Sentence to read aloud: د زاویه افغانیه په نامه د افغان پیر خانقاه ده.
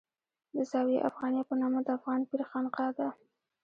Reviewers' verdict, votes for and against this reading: accepted, 2, 0